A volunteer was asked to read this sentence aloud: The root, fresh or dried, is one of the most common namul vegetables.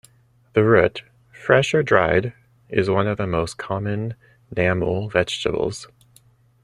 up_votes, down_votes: 2, 0